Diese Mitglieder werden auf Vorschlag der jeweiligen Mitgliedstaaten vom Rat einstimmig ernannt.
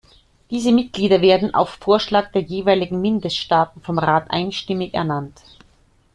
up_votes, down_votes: 0, 2